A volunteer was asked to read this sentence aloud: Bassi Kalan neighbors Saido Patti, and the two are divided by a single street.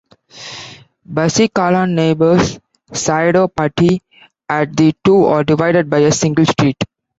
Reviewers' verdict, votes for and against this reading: accepted, 2, 0